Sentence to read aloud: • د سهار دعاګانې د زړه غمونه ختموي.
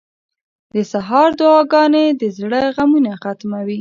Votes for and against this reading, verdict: 2, 0, accepted